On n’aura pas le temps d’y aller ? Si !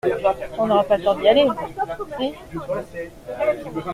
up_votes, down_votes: 2, 0